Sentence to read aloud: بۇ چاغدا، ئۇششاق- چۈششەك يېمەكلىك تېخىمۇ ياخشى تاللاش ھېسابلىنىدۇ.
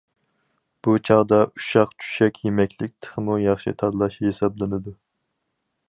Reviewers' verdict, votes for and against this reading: accepted, 4, 0